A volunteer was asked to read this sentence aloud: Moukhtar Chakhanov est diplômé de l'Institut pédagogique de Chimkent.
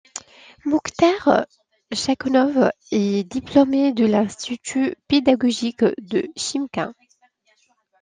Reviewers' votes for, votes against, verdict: 2, 0, accepted